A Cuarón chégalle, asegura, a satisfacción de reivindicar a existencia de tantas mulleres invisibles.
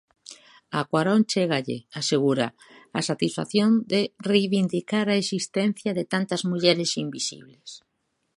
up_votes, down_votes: 2, 0